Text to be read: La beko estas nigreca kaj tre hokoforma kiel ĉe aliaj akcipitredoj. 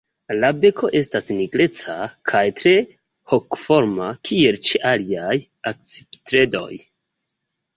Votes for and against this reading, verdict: 2, 0, accepted